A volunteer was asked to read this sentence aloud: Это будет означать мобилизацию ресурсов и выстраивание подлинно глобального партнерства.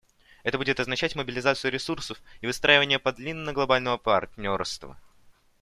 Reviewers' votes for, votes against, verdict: 0, 2, rejected